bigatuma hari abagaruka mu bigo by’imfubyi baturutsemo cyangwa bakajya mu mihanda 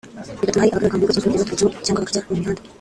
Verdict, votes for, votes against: rejected, 0, 2